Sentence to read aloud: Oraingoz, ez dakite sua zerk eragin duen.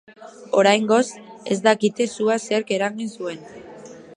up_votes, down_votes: 0, 2